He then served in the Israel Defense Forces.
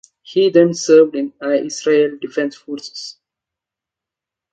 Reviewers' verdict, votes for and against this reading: rejected, 0, 2